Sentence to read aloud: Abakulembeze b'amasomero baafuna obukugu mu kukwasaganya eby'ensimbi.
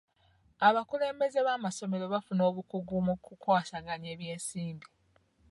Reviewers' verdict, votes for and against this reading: accepted, 2, 0